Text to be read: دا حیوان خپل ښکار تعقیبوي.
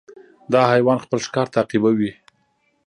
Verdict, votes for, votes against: accepted, 2, 0